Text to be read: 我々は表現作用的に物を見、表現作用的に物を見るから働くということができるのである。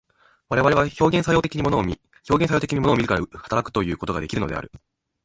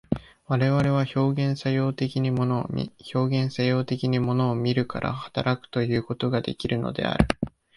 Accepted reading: second